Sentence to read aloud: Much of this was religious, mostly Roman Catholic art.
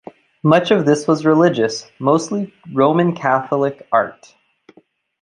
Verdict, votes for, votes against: accepted, 2, 0